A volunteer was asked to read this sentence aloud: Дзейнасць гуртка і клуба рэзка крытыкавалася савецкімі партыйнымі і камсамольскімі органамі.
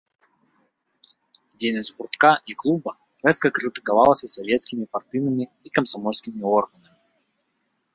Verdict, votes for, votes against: rejected, 1, 2